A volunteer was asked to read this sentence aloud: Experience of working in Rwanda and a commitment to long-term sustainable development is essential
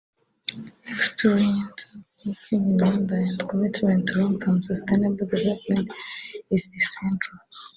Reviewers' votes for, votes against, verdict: 0, 2, rejected